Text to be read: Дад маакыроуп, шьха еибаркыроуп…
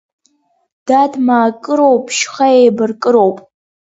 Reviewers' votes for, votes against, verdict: 2, 0, accepted